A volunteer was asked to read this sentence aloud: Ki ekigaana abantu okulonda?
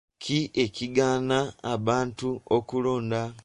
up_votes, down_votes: 2, 1